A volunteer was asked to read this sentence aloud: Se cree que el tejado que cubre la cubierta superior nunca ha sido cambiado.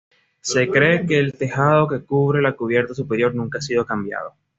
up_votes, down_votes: 2, 0